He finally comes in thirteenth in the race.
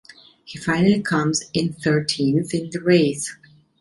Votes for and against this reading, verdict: 2, 0, accepted